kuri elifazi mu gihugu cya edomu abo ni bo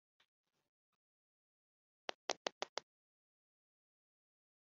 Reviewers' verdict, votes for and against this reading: rejected, 1, 3